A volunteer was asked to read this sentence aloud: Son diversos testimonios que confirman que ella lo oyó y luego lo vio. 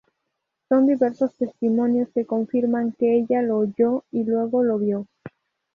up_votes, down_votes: 2, 2